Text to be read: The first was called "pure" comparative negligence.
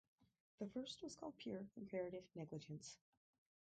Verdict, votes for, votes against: rejected, 0, 2